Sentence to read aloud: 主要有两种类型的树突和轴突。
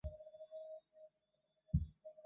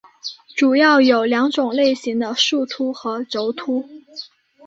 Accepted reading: second